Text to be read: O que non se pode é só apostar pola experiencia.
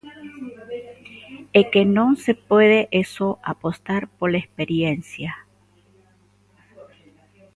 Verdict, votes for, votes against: rejected, 0, 2